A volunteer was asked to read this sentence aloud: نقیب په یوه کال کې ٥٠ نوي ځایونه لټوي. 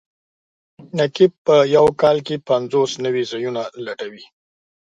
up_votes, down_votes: 0, 2